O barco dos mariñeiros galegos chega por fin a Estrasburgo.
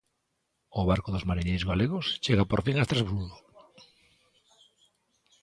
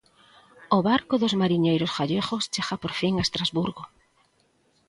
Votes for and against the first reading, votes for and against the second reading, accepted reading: 2, 0, 0, 2, first